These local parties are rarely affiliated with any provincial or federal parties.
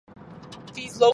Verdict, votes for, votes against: rejected, 0, 4